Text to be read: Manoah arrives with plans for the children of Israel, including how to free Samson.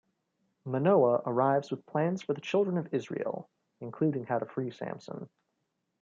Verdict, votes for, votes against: accepted, 2, 0